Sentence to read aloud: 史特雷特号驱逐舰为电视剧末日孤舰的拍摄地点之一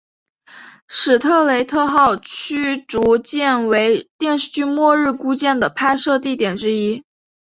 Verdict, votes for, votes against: accepted, 2, 0